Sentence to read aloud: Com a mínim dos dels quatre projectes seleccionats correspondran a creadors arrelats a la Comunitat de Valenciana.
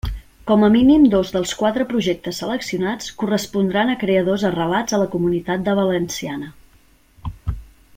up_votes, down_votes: 3, 0